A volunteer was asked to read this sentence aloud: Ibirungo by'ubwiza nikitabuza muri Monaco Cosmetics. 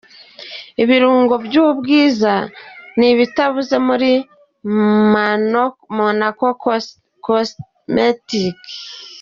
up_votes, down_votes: 0, 2